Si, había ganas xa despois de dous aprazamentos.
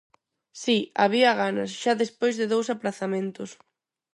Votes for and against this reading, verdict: 4, 0, accepted